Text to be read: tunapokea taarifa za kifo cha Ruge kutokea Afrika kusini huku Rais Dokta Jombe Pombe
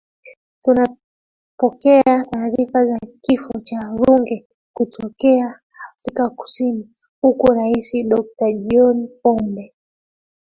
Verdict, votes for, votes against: rejected, 0, 2